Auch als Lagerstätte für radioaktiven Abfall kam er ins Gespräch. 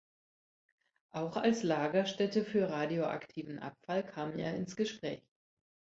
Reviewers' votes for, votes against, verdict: 2, 1, accepted